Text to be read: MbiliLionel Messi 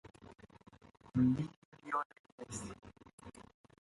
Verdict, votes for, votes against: rejected, 0, 2